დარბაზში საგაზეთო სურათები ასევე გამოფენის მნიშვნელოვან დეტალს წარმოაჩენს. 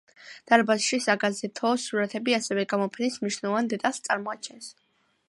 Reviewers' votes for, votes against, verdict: 2, 0, accepted